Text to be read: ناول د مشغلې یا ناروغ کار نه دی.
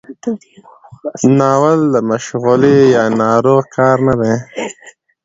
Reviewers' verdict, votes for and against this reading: accepted, 2, 0